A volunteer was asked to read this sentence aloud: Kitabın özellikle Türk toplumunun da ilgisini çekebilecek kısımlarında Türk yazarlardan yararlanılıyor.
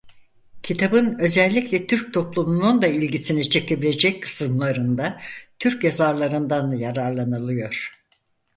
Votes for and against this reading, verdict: 0, 4, rejected